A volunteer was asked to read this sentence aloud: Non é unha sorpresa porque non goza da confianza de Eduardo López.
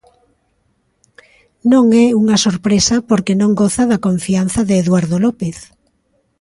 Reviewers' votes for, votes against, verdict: 2, 0, accepted